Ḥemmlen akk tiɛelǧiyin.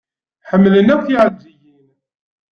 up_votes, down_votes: 1, 2